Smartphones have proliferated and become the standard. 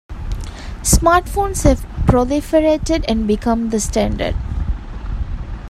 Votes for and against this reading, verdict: 2, 0, accepted